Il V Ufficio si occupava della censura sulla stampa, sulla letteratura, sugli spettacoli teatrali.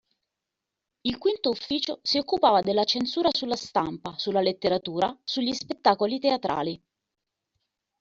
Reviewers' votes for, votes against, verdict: 2, 0, accepted